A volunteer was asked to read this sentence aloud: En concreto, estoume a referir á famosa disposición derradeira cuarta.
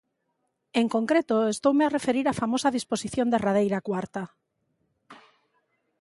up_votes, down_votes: 2, 0